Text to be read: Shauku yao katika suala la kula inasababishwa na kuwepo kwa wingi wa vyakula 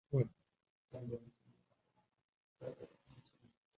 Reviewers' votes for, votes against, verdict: 1, 2, rejected